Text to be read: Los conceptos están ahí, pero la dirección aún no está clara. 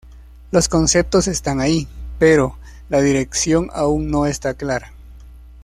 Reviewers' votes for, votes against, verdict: 2, 0, accepted